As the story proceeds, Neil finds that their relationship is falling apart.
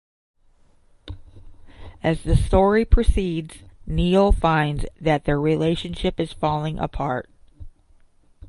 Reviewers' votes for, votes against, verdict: 5, 0, accepted